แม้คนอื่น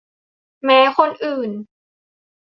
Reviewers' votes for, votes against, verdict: 2, 0, accepted